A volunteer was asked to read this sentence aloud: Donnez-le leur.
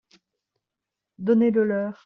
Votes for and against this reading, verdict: 2, 0, accepted